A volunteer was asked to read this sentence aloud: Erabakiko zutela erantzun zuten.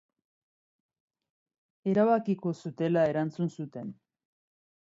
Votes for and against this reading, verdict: 2, 0, accepted